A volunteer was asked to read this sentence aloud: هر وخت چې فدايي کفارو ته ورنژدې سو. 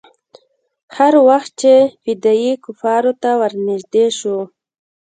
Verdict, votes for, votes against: rejected, 1, 2